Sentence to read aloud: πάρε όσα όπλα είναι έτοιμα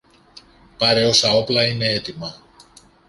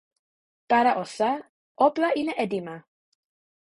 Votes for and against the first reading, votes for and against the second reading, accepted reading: 2, 0, 0, 3, first